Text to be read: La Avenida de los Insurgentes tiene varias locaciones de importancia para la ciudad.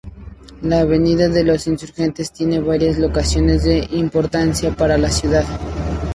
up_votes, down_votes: 0, 2